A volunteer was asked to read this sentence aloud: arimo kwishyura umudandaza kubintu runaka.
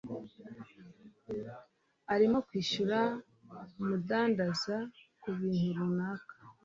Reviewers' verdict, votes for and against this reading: accepted, 2, 0